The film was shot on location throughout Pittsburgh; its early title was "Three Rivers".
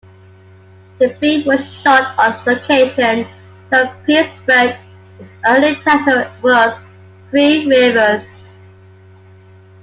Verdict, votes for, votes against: accepted, 2, 1